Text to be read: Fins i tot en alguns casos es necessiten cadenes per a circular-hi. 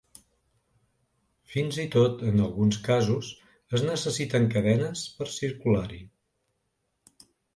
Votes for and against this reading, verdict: 1, 2, rejected